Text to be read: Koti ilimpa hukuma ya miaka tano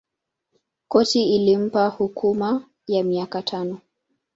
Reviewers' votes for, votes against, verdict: 1, 2, rejected